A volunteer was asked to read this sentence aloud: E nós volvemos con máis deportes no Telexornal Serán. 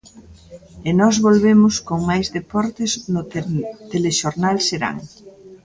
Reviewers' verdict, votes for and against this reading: rejected, 1, 2